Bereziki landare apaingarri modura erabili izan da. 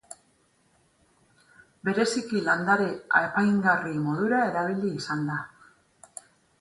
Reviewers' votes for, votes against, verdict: 4, 0, accepted